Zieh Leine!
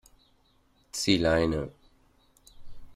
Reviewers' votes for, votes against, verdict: 2, 0, accepted